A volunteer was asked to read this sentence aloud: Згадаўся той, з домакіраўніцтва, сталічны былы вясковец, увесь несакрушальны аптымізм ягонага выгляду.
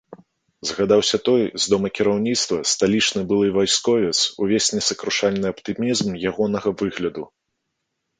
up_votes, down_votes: 1, 2